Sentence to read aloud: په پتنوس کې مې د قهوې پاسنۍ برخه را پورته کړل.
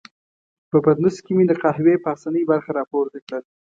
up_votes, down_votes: 2, 0